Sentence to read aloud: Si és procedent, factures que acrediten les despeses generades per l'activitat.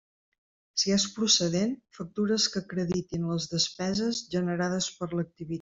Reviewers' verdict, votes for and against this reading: rejected, 0, 2